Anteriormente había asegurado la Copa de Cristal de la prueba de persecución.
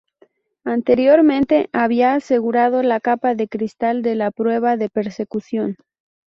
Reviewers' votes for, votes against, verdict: 0, 2, rejected